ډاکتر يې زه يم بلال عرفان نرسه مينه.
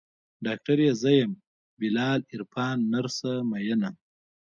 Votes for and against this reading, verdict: 1, 2, rejected